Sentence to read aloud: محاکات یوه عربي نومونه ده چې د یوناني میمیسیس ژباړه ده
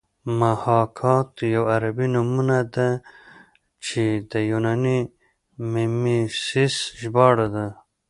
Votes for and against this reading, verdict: 0, 2, rejected